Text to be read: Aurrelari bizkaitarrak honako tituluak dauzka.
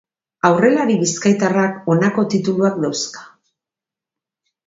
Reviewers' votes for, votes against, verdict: 4, 0, accepted